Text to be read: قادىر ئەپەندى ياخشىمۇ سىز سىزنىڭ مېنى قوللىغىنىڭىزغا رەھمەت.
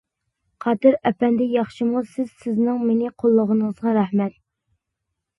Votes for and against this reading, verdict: 2, 0, accepted